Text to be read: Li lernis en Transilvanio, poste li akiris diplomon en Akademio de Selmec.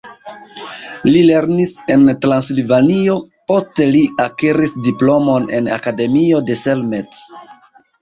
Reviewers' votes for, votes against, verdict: 0, 2, rejected